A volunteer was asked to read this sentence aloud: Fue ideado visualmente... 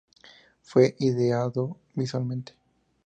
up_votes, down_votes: 2, 0